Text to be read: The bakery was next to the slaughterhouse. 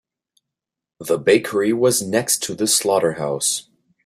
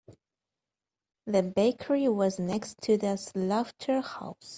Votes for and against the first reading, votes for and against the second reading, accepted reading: 3, 0, 1, 2, first